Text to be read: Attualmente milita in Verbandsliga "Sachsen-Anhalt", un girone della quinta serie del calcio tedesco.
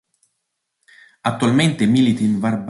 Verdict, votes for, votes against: rejected, 0, 2